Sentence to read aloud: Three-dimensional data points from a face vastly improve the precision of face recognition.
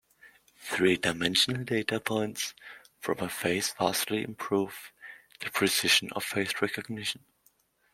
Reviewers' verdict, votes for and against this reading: accepted, 2, 1